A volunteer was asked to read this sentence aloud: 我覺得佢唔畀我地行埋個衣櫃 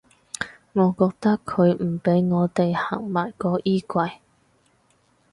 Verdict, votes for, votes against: accepted, 4, 0